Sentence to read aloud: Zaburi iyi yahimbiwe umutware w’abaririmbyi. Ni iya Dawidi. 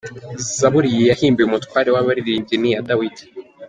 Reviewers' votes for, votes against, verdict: 2, 1, accepted